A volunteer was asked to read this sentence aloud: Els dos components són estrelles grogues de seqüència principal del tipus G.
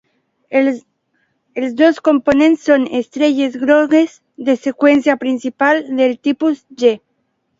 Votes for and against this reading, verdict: 1, 2, rejected